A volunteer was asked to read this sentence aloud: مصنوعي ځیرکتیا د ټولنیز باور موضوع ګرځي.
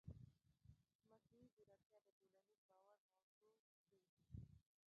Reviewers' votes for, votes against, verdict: 0, 2, rejected